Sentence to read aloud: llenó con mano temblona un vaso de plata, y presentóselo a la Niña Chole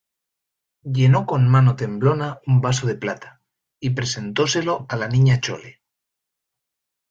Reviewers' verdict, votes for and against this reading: accepted, 2, 0